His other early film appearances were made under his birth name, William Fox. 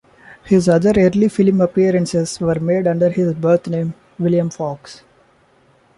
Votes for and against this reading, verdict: 0, 2, rejected